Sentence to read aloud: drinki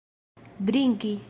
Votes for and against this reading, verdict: 2, 0, accepted